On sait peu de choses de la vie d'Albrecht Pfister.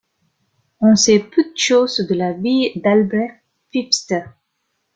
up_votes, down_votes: 2, 0